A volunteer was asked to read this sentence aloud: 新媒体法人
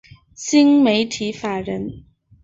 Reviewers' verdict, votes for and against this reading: accepted, 2, 0